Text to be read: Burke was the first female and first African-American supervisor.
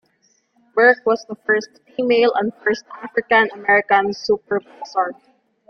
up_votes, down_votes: 1, 2